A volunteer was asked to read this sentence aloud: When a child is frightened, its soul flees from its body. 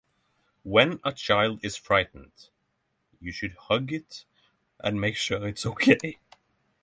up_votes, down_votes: 0, 6